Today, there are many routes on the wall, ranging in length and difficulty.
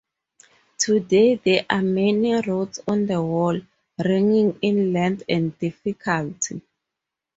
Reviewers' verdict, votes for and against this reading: rejected, 0, 4